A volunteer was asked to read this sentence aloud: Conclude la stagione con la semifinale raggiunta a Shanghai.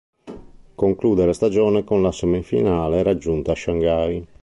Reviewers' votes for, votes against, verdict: 2, 0, accepted